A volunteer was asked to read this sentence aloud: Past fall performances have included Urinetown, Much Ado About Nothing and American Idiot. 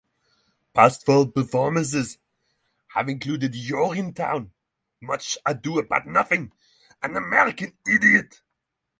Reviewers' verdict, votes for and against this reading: accepted, 3, 0